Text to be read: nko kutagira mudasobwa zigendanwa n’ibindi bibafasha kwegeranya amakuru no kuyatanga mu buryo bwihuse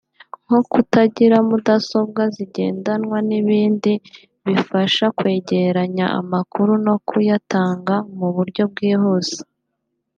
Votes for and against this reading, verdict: 4, 0, accepted